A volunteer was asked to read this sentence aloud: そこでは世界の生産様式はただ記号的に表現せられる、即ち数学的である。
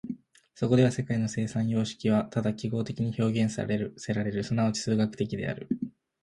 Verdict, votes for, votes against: rejected, 0, 2